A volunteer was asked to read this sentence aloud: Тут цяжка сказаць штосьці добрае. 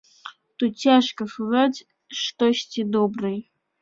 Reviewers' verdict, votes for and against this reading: rejected, 1, 2